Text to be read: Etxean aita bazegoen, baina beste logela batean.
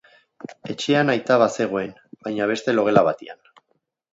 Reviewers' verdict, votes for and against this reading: rejected, 0, 2